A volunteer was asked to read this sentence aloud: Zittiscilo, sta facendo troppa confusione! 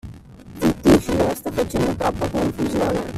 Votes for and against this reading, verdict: 0, 2, rejected